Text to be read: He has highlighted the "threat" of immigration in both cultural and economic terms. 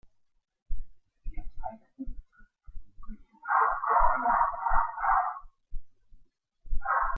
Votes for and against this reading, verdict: 0, 2, rejected